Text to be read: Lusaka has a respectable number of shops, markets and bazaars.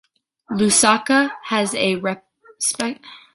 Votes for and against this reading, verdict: 0, 2, rejected